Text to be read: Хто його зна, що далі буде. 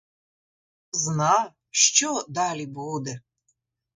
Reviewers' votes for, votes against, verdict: 1, 2, rejected